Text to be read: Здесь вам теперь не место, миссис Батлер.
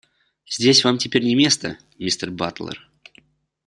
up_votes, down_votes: 2, 0